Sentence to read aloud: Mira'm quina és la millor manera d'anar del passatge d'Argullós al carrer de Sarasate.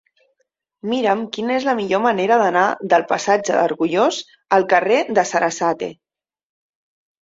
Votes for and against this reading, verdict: 0, 2, rejected